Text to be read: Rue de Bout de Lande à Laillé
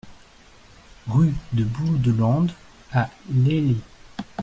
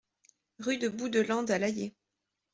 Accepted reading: second